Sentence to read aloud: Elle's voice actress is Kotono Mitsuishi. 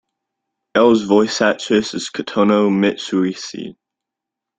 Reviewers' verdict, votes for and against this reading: rejected, 1, 2